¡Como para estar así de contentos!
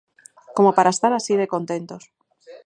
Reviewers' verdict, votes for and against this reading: accepted, 4, 0